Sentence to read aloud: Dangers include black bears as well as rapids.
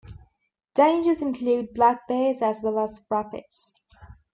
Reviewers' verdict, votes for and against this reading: accepted, 2, 0